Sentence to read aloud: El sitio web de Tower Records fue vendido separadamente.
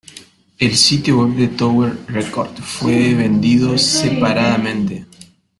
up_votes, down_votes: 1, 2